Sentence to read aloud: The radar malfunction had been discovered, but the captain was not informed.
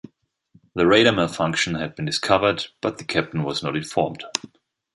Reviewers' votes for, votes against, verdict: 1, 2, rejected